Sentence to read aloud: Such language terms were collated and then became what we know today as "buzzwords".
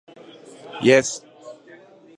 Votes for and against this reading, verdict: 0, 2, rejected